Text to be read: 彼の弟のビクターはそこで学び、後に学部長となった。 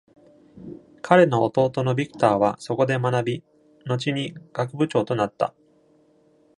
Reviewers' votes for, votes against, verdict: 2, 0, accepted